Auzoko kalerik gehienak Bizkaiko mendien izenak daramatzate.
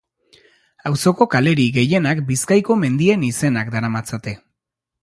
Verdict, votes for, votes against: accepted, 2, 0